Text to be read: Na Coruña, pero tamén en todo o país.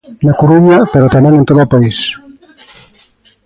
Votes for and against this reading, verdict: 2, 0, accepted